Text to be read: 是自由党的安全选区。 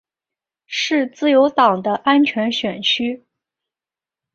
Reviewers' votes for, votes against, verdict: 2, 0, accepted